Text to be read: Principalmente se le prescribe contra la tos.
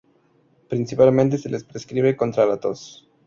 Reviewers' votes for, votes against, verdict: 0, 2, rejected